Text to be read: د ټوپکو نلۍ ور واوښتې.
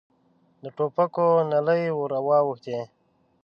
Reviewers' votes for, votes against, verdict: 0, 3, rejected